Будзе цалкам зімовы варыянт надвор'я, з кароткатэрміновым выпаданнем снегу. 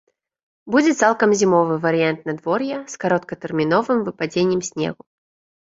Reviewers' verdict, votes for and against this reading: rejected, 0, 2